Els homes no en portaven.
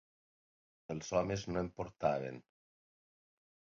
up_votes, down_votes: 3, 0